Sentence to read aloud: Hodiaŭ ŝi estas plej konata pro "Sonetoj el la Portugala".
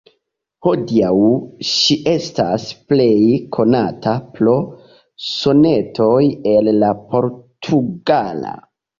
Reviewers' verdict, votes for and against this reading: accepted, 2, 0